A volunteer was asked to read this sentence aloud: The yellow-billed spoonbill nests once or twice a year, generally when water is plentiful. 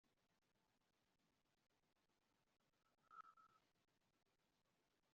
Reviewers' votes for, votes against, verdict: 0, 2, rejected